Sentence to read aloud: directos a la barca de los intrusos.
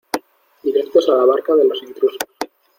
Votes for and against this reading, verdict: 1, 2, rejected